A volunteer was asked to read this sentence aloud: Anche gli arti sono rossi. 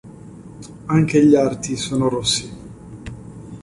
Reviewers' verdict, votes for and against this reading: accepted, 2, 0